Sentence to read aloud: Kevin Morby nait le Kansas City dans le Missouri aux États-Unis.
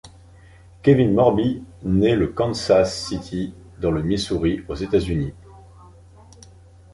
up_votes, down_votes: 2, 0